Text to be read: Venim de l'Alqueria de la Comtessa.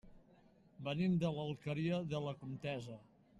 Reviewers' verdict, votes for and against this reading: rejected, 1, 2